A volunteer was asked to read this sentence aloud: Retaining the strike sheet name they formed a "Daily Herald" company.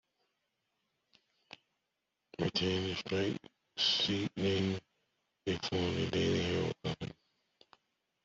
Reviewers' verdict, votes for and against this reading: rejected, 0, 2